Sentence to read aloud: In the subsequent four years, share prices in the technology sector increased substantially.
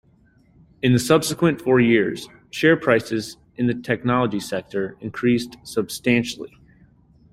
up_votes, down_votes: 2, 0